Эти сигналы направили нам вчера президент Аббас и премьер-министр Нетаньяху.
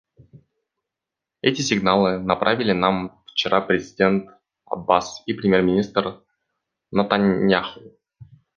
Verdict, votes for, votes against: rejected, 1, 2